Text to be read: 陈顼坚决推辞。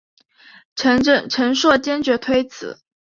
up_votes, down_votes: 2, 0